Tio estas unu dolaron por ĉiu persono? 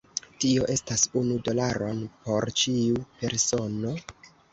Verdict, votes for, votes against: accepted, 2, 0